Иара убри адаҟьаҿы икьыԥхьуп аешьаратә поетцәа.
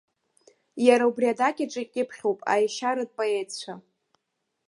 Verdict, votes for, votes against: rejected, 1, 2